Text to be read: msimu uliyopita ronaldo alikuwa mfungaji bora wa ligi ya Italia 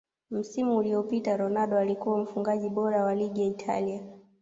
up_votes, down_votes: 2, 0